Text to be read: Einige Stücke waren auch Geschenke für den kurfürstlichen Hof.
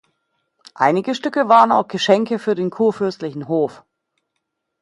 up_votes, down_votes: 2, 0